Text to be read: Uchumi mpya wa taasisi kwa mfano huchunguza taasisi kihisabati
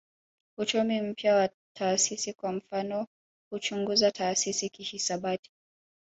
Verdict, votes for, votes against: rejected, 0, 2